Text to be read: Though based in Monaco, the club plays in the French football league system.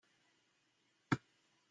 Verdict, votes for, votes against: rejected, 1, 2